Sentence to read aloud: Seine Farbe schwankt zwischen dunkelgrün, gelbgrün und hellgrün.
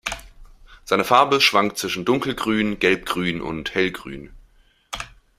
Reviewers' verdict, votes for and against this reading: accepted, 2, 0